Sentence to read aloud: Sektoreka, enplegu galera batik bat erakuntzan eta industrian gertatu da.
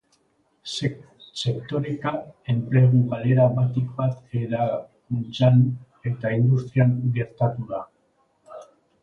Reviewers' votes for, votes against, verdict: 0, 3, rejected